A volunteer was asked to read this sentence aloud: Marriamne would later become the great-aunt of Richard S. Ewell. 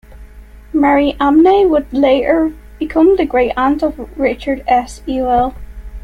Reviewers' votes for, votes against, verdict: 0, 2, rejected